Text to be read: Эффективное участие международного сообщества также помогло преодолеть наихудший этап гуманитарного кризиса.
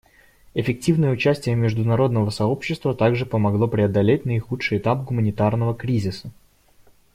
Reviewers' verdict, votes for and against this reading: accepted, 2, 0